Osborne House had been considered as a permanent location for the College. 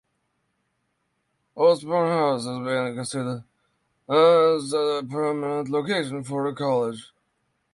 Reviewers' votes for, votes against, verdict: 3, 6, rejected